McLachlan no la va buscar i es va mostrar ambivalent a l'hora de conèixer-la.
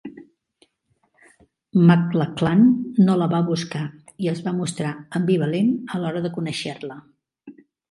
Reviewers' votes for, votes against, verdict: 2, 1, accepted